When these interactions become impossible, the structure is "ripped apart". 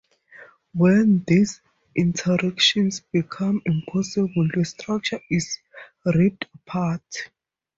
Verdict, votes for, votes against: rejected, 0, 2